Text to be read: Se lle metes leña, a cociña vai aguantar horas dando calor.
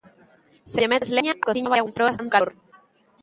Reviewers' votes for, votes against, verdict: 0, 2, rejected